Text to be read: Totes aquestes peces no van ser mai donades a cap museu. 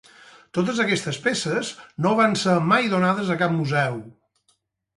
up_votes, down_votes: 4, 0